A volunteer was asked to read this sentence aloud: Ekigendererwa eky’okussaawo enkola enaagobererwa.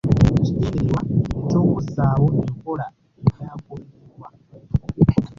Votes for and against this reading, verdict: 1, 2, rejected